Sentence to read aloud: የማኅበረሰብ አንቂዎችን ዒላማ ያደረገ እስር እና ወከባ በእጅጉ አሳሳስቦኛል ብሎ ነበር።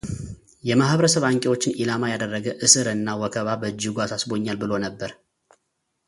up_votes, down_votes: 2, 0